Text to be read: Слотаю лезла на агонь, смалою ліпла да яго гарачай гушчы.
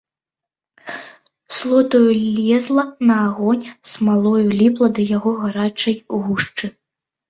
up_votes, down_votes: 2, 0